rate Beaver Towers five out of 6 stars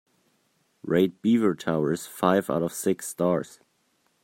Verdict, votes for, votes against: rejected, 0, 2